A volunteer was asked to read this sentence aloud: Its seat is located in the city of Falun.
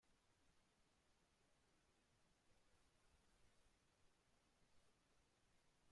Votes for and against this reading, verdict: 0, 2, rejected